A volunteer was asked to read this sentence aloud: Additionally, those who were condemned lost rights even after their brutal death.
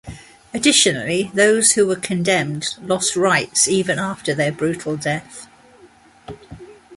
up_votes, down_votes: 2, 0